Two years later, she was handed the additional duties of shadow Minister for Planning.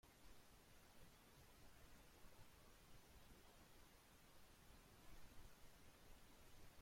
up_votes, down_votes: 0, 2